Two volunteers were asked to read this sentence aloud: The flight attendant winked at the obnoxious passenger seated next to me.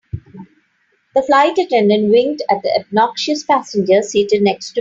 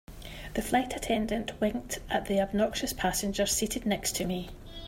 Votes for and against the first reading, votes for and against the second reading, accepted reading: 0, 3, 2, 0, second